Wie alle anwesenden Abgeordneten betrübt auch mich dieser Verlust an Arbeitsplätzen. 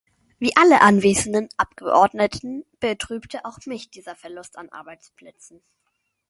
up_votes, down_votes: 0, 2